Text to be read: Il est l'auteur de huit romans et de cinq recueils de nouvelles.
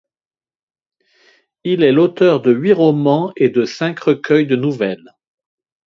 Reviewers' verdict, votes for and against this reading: accepted, 2, 0